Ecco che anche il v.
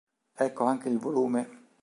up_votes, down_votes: 1, 2